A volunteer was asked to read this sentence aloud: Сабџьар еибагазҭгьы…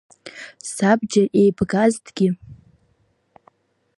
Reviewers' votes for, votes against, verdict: 0, 2, rejected